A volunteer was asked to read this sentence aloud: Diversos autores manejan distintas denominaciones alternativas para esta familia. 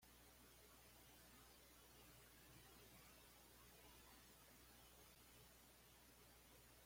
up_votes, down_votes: 1, 2